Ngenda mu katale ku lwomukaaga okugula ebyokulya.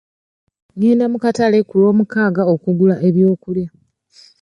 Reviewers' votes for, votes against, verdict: 2, 0, accepted